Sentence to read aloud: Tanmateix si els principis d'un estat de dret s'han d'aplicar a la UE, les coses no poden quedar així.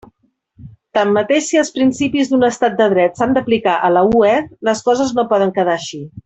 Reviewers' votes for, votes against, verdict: 2, 0, accepted